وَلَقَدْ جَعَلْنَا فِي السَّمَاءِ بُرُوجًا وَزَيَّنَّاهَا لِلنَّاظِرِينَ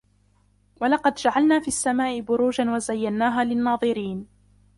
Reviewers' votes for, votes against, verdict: 0, 2, rejected